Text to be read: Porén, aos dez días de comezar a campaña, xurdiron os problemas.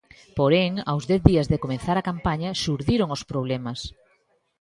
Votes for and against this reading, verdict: 2, 0, accepted